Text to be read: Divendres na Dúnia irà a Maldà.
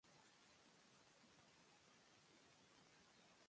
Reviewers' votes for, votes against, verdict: 0, 2, rejected